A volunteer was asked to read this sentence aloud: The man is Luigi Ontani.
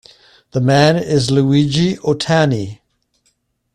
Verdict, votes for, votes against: rejected, 0, 2